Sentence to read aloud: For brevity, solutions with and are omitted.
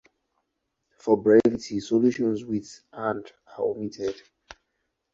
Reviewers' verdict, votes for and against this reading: accepted, 2, 0